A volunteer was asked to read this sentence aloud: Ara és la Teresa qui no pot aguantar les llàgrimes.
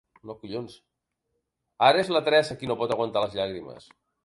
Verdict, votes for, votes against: rejected, 0, 3